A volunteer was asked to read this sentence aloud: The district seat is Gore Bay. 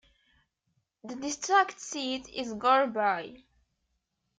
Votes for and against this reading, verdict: 2, 1, accepted